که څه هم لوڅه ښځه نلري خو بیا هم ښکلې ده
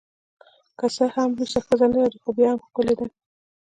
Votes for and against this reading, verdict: 2, 0, accepted